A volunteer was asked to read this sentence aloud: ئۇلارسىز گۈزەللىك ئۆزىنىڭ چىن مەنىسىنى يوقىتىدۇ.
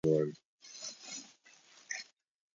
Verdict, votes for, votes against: rejected, 0, 2